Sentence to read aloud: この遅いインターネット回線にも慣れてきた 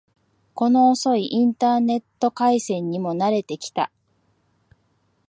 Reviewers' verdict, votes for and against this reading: accepted, 3, 0